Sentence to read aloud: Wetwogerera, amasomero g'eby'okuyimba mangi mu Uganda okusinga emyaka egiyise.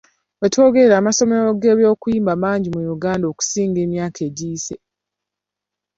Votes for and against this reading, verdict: 2, 0, accepted